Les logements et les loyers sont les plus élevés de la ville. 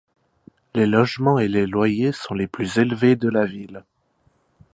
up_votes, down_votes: 1, 2